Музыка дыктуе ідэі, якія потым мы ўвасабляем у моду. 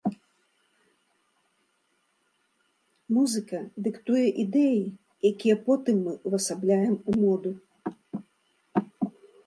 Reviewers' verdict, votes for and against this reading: accepted, 2, 0